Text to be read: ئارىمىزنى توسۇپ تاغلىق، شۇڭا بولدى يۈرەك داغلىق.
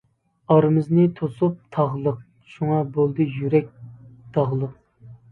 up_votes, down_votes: 2, 0